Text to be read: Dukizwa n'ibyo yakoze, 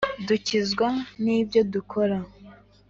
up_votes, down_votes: 1, 2